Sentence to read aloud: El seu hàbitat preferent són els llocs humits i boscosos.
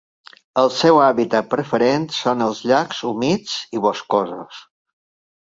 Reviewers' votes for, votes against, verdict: 1, 2, rejected